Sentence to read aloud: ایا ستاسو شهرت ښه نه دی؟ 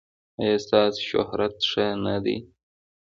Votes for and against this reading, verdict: 2, 1, accepted